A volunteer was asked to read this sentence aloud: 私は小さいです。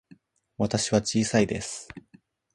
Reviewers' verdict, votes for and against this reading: accepted, 2, 0